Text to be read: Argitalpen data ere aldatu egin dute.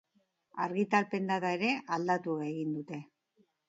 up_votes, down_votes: 0, 2